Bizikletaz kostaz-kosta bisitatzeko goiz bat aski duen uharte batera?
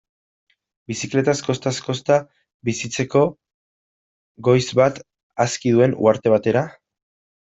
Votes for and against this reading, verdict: 0, 2, rejected